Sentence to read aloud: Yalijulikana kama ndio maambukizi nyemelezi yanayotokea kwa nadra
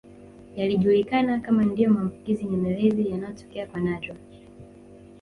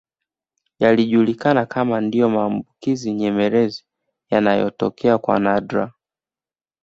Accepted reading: second